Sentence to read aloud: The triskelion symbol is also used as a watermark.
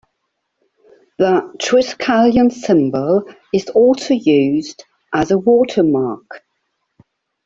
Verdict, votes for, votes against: accepted, 2, 1